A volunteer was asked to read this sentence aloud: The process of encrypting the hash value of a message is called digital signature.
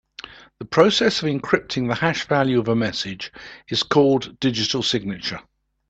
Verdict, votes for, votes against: accepted, 2, 0